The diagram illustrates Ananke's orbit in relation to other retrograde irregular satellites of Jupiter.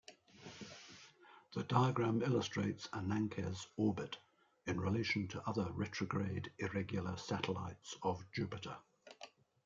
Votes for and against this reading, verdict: 2, 1, accepted